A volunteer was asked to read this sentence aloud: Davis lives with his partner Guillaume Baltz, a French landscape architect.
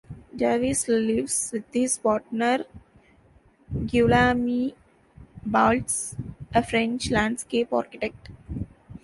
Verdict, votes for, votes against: rejected, 1, 2